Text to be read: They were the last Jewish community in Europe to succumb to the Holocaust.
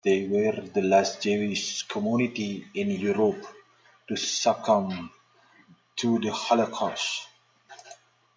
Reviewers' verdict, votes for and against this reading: accepted, 2, 1